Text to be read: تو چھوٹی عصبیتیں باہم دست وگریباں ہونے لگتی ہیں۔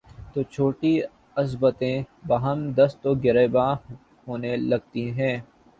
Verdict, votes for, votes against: rejected, 0, 2